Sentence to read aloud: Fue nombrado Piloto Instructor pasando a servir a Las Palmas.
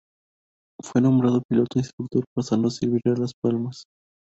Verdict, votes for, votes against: rejected, 0, 4